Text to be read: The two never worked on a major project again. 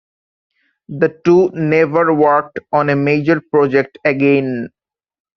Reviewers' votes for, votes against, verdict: 2, 0, accepted